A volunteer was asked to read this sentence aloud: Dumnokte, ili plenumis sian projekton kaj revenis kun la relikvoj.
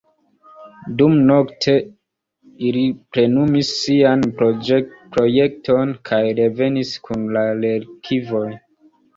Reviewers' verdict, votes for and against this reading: accepted, 2, 0